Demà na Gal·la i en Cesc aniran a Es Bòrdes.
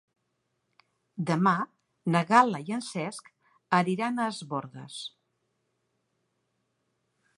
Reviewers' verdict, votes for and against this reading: accepted, 2, 0